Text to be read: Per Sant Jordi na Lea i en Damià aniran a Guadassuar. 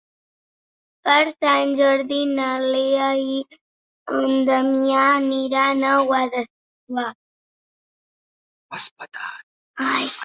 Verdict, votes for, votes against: rejected, 0, 2